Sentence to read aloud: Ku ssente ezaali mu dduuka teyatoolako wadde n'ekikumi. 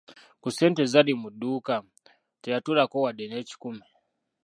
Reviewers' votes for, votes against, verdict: 1, 2, rejected